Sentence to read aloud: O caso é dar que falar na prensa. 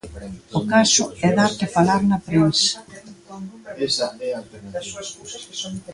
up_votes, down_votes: 0, 2